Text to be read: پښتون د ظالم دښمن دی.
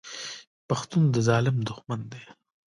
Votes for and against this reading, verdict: 2, 1, accepted